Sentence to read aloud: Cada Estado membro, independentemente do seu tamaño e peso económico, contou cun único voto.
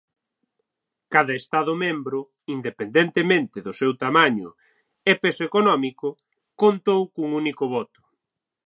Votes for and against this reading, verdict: 6, 0, accepted